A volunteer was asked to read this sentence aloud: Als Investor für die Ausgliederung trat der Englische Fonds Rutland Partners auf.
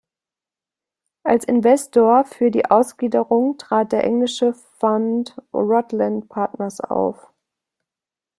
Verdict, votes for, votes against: accepted, 2, 0